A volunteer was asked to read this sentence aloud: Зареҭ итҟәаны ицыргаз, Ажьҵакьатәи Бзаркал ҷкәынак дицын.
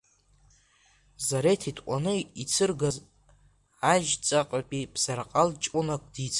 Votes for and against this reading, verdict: 2, 0, accepted